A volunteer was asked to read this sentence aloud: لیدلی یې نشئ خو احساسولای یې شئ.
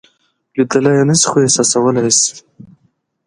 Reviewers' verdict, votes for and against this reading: accepted, 2, 0